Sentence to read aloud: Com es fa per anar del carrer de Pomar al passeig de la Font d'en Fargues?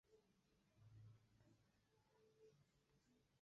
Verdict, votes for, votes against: rejected, 0, 2